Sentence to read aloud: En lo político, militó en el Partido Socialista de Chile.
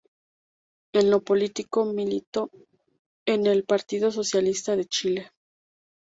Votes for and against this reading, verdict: 0, 2, rejected